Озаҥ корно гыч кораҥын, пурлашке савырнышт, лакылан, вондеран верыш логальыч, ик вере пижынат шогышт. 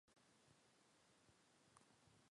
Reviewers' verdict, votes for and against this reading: rejected, 1, 2